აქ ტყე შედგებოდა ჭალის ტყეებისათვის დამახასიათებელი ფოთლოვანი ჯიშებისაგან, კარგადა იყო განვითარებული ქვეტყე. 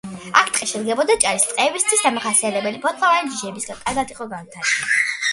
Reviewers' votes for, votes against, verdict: 1, 2, rejected